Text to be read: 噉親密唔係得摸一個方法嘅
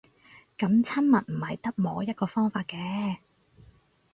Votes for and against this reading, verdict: 6, 0, accepted